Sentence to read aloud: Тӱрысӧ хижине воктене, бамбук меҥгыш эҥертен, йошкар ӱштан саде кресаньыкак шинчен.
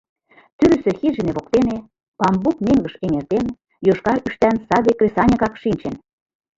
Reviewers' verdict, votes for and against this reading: rejected, 1, 2